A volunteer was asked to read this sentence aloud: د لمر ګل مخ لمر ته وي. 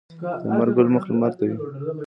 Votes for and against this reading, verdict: 2, 0, accepted